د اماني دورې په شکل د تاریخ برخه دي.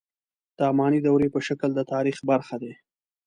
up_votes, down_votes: 3, 0